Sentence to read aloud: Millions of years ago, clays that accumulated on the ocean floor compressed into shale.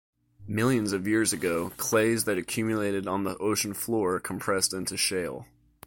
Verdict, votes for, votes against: accepted, 2, 1